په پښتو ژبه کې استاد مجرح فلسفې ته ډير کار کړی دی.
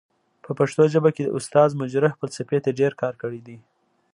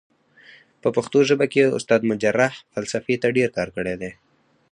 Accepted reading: first